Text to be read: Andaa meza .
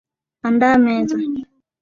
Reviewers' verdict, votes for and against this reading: rejected, 0, 3